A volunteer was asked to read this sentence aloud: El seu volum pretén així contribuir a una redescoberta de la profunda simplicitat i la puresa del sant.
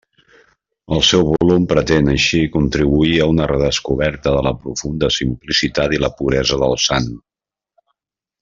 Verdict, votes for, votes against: accepted, 3, 0